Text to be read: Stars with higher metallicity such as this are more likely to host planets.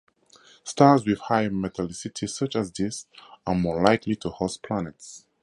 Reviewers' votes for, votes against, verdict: 4, 0, accepted